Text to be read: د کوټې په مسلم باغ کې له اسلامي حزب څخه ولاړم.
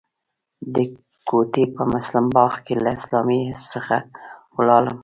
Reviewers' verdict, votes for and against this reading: rejected, 1, 2